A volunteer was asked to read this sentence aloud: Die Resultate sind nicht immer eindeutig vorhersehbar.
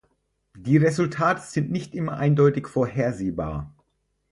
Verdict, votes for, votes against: rejected, 2, 4